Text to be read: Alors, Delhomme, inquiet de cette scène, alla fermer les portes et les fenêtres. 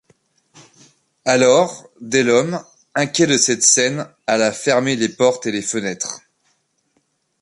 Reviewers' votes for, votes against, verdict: 2, 0, accepted